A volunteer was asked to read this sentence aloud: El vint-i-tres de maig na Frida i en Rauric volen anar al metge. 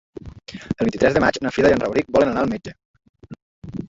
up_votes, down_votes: 2, 1